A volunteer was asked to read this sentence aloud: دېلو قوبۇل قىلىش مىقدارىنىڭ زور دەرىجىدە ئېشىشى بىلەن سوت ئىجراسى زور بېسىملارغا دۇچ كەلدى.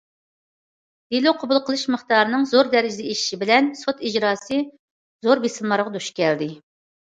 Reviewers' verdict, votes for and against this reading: accepted, 2, 0